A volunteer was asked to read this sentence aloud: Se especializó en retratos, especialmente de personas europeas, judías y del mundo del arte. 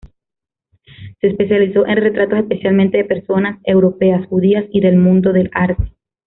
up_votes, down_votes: 0, 2